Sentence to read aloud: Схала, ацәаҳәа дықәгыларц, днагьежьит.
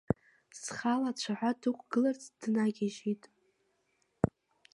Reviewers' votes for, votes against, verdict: 1, 2, rejected